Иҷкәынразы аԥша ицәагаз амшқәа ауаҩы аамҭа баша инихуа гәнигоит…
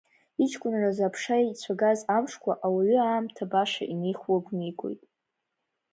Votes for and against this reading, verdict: 0, 2, rejected